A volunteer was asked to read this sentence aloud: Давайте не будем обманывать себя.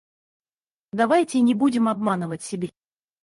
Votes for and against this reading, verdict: 2, 4, rejected